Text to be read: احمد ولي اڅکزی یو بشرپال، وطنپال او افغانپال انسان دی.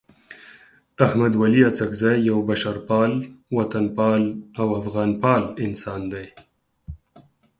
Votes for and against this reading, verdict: 4, 0, accepted